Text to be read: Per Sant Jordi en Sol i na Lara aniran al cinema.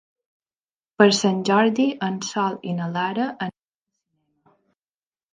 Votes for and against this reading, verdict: 0, 2, rejected